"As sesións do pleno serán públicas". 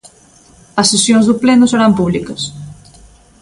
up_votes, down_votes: 2, 0